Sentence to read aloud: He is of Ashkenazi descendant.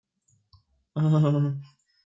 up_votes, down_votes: 0, 2